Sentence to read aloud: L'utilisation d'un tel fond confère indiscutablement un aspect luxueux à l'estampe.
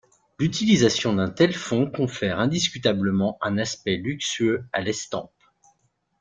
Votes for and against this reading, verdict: 2, 0, accepted